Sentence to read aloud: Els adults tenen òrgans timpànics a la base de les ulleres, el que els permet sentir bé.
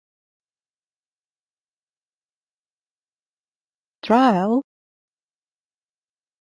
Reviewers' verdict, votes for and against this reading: rejected, 0, 2